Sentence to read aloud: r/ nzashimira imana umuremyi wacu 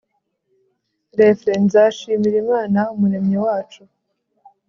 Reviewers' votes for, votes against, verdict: 3, 0, accepted